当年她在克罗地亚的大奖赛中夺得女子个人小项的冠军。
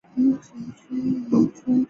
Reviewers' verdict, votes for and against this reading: rejected, 1, 5